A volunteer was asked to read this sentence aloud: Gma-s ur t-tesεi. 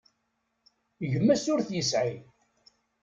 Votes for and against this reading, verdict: 0, 2, rejected